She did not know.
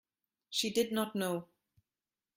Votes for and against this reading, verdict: 2, 0, accepted